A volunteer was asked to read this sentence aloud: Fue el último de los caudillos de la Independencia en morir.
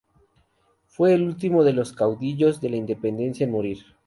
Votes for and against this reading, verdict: 2, 0, accepted